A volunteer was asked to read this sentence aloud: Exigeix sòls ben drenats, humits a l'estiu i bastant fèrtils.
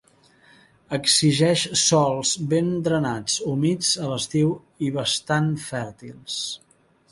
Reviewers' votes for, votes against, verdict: 3, 0, accepted